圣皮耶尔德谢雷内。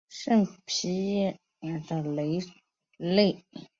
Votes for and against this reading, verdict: 1, 3, rejected